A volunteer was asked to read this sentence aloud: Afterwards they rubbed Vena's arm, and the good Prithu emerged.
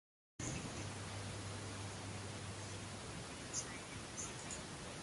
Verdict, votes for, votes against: rejected, 1, 2